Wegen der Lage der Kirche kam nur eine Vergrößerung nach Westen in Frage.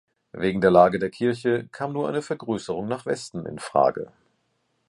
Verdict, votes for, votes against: accepted, 2, 0